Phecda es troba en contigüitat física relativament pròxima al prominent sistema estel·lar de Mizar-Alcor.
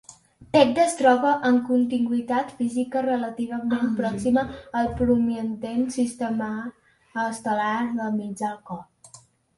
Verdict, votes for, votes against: rejected, 1, 2